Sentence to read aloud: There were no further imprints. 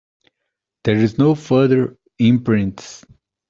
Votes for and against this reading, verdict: 0, 2, rejected